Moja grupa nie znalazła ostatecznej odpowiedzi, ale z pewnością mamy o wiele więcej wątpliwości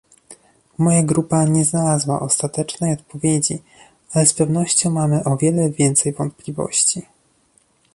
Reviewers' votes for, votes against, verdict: 1, 2, rejected